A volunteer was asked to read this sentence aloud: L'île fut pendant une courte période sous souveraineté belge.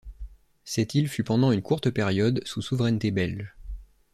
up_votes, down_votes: 1, 2